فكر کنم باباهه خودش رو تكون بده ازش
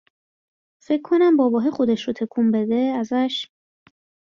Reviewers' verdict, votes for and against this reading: accepted, 2, 0